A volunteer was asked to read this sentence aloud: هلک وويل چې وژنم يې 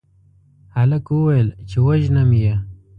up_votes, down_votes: 2, 0